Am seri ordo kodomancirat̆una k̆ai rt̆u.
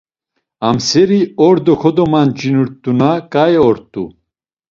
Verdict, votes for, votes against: rejected, 0, 2